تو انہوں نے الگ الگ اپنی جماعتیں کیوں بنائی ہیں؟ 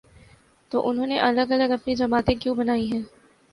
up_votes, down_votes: 3, 0